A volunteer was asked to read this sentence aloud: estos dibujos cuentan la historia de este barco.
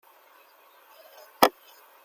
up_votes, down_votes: 0, 2